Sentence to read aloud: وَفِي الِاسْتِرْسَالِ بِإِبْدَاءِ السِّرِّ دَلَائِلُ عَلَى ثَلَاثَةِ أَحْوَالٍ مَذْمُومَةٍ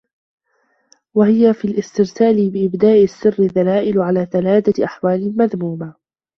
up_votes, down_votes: 0, 2